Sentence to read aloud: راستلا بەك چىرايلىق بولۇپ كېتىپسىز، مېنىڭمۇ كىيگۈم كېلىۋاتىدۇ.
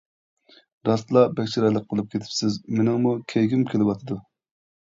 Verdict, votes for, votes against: accepted, 2, 0